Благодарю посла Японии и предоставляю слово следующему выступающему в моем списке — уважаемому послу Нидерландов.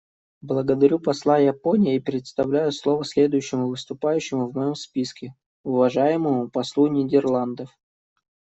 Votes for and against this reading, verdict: 0, 2, rejected